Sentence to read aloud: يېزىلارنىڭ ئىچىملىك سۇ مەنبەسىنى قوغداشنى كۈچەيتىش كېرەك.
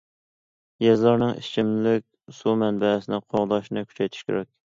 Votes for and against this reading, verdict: 2, 0, accepted